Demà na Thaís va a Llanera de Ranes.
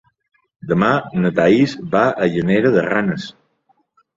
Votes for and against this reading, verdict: 3, 0, accepted